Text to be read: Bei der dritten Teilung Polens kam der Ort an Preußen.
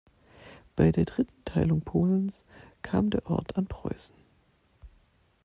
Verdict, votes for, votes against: accepted, 2, 0